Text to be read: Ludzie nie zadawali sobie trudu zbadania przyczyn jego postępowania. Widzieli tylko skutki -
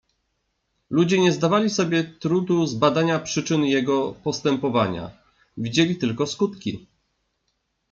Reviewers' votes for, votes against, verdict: 2, 3, rejected